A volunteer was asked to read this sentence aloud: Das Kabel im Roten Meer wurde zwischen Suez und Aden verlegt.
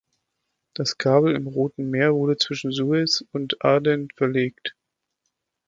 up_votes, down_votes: 2, 0